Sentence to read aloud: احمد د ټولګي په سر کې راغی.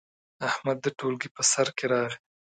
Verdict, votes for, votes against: accepted, 2, 0